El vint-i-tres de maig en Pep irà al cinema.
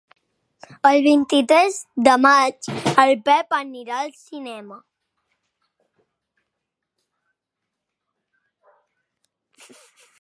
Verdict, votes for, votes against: rejected, 1, 2